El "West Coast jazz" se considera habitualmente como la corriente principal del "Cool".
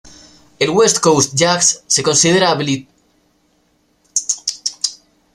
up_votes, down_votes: 0, 2